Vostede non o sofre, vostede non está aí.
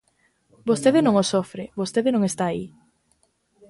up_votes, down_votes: 2, 0